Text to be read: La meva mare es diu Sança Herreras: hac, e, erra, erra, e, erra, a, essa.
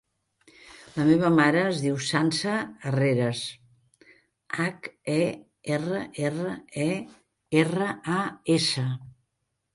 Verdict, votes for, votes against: accepted, 2, 0